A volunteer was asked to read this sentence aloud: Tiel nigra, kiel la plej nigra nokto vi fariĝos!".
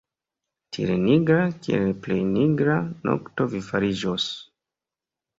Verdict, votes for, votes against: accepted, 2, 1